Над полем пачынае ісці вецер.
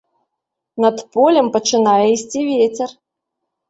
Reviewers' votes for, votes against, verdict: 2, 0, accepted